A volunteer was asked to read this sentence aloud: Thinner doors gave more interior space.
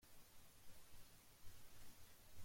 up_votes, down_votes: 0, 2